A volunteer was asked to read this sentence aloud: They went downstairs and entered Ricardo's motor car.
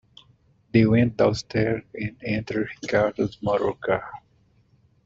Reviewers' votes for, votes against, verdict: 2, 0, accepted